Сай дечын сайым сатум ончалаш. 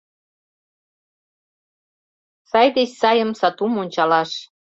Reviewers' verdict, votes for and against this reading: rejected, 0, 2